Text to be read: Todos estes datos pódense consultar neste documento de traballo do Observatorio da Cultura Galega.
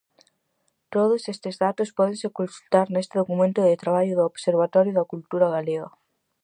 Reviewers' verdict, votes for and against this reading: accepted, 4, 0